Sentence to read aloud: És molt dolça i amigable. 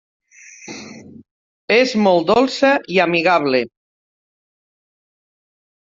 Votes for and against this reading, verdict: 1, 2, rejected